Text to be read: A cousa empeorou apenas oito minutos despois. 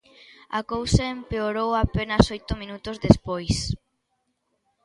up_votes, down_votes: 2, 0